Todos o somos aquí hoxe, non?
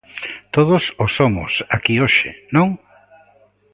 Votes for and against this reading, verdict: 2, 0, accepted